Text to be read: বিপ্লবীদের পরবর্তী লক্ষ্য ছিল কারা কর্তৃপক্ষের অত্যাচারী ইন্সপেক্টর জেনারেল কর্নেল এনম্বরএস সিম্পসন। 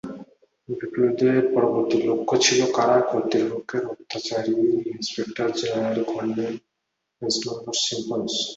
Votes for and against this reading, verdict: 6, 8, rejected